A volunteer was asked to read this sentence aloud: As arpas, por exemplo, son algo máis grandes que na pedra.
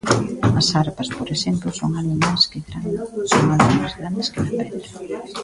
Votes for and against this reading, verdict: 0, 2, rejected